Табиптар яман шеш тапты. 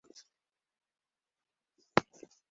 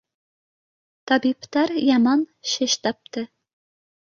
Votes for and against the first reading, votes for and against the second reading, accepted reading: 1, 2, 2, 0, second